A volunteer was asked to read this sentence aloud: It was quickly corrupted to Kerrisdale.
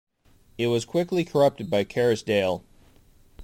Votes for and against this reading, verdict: 1, 2, rejected